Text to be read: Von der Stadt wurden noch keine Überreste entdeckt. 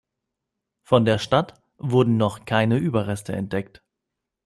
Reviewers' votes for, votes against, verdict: 2, 0, accepted